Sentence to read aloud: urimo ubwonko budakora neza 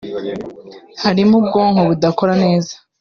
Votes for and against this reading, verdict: 1, 2, rejected